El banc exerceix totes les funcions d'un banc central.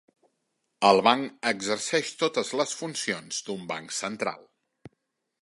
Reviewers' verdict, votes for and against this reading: accepted, 3, 1